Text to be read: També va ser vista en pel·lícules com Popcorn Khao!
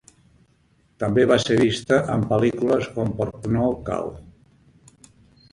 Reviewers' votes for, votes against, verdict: 0, 2, rejected